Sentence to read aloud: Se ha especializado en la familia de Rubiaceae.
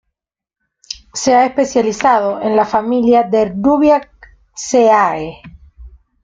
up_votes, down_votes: 0, 2